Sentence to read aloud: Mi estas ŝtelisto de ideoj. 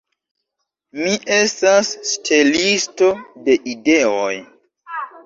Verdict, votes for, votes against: accepted, 2, 0